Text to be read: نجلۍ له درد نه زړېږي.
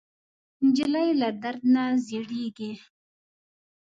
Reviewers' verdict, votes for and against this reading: accepted, 2, 0